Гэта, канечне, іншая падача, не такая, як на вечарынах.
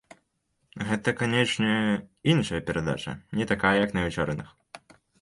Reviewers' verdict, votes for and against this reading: rejected, 0, 2